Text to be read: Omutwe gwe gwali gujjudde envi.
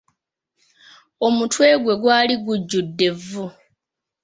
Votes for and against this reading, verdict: 1, 2, rejected